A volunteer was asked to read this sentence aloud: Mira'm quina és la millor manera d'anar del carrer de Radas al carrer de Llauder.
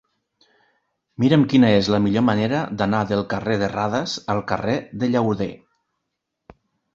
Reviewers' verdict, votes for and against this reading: accepted, 2, 0